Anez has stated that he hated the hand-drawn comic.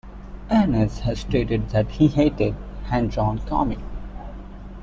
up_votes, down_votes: 0, 2